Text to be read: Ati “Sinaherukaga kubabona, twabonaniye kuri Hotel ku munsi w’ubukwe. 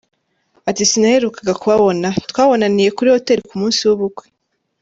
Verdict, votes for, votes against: accepted, 3, 0